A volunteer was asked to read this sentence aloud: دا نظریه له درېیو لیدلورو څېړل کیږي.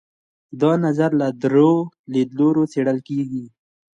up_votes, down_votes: 2, 1